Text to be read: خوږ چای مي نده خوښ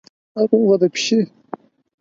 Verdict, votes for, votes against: rejected, 0, 4